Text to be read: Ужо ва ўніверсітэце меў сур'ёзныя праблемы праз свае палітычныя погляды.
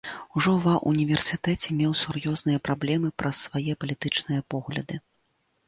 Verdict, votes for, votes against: accepted, 2, 0